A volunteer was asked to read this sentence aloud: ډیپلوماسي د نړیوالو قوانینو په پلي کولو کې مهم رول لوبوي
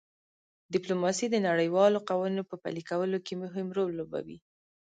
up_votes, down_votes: 1, 2